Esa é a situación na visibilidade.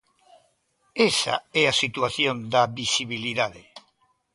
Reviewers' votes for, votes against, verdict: 0, 2, rejected